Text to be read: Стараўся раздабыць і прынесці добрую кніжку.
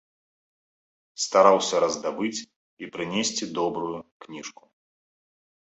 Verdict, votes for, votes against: accepted, 2, 0